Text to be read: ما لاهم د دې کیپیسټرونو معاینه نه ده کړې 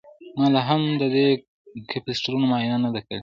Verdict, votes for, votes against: rejected, 0, 2